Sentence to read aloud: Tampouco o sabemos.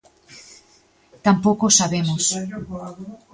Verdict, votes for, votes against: accepted, 2, 0